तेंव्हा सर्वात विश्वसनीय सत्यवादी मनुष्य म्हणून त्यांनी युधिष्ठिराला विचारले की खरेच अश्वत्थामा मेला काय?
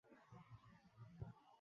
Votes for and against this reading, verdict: 0, 2, rejected